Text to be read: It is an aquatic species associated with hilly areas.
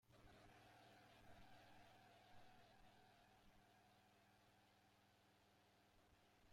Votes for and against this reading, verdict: 0, 2, rejected